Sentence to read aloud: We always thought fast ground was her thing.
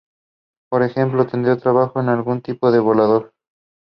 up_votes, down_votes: 1, 2